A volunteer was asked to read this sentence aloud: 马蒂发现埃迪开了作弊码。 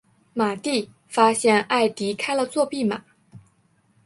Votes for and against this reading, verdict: 2, 0, accepted